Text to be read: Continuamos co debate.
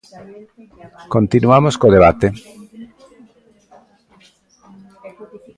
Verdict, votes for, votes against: rejected, 1, 2